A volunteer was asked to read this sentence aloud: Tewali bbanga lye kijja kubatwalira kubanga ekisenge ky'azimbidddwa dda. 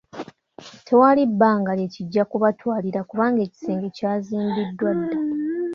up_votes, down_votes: 2, 0